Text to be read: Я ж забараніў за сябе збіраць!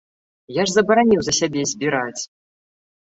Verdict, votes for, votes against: accepted, 2, 0